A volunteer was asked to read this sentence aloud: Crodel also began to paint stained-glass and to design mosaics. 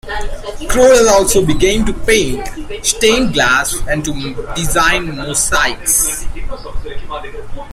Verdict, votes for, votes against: rejected, 1, 2